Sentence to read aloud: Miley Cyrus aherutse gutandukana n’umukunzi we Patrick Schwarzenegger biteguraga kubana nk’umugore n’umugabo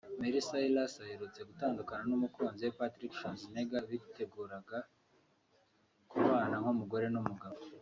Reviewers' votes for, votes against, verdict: 4, 0, accepted